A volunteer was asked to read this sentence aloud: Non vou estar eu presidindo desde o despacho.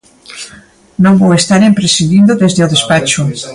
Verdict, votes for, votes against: rejected, 1, 2